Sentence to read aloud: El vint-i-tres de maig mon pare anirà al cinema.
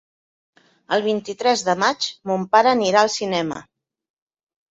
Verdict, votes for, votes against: accepted, 3, 0